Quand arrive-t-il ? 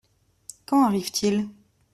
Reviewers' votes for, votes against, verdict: 3, 0, accepted